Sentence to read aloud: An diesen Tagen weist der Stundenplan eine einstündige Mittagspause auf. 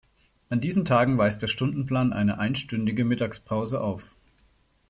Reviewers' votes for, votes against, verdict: 2, 0, accepted